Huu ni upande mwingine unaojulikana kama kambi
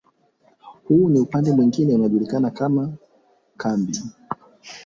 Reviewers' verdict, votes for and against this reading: accepted, 4, 0